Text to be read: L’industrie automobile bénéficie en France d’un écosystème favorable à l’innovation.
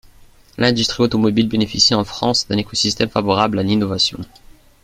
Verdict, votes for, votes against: accepted, 2, 0